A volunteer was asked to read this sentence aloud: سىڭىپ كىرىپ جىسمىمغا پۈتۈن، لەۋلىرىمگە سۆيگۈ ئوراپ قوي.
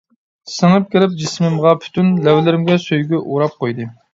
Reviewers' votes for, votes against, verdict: 1, 2, rejected